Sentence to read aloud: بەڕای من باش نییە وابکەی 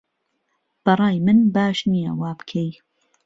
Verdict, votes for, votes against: accepted, 2, 0